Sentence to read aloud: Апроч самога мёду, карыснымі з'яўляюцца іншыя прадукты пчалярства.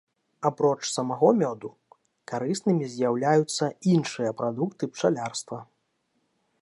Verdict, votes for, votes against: rejected, 0, 2